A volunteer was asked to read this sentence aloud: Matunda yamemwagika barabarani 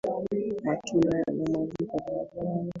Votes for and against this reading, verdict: 0, 2, rejected